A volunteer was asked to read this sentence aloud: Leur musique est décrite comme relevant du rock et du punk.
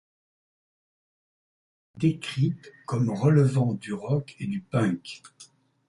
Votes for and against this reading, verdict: 0, 2, rejected